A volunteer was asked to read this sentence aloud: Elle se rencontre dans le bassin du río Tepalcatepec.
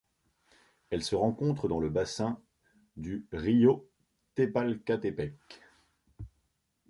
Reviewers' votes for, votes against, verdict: 1, 2, rejected